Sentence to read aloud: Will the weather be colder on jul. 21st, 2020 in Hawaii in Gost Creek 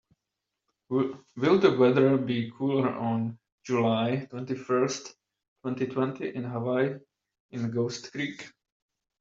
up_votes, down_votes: 0, 2